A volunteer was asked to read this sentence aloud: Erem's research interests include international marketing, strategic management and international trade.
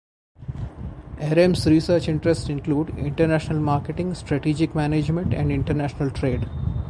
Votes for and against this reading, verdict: 2, 0, accepted